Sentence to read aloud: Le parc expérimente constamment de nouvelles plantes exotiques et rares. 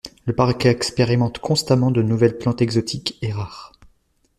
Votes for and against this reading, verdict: 0, 2, rejected